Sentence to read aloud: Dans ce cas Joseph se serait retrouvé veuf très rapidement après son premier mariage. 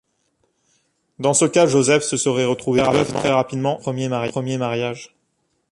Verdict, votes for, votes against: rejected, 0, 2